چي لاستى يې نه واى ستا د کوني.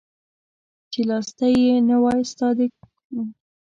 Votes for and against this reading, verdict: 1, 2, rejected